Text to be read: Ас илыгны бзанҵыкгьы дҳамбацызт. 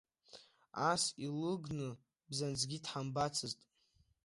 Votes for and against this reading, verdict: 2, 0, accepted